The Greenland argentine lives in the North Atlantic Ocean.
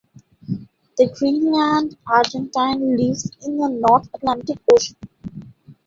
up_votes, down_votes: 2, 1